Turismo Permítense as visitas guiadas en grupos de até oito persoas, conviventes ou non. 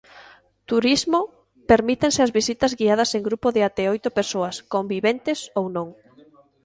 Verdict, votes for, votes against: accepted, 2, 0